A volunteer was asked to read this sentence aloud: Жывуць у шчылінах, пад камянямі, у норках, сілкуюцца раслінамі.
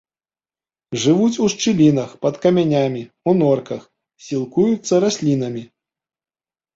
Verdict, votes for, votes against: rejected, 1, 2